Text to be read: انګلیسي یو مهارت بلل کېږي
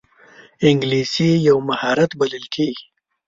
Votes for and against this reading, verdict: 2, 0, accepted